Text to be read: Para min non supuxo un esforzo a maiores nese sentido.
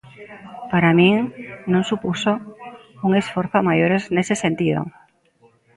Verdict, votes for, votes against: accepted, 2, 0